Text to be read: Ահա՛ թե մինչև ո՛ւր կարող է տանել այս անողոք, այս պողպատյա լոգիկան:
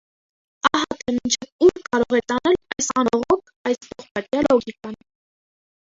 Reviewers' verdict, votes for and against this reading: rejected, 0, 2